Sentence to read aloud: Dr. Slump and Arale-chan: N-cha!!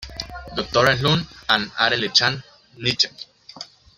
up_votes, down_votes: 0, 2